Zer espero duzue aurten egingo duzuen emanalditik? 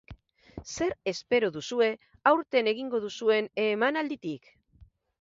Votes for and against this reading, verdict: 6, 0, accepted